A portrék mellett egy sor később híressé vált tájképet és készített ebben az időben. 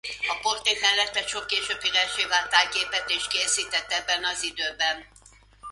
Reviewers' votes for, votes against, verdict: 0, 2, rejected